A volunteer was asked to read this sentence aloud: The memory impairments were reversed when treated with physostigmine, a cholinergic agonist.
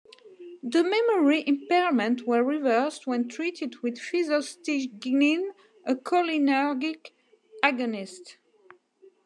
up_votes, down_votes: 0, 2